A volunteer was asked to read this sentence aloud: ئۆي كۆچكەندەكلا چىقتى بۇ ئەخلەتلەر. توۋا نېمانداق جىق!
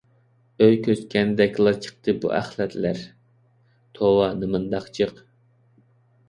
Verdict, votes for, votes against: accepted, 2, 0